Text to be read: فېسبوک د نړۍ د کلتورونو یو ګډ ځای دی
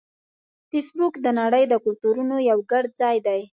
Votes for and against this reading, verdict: 3, 0, accepted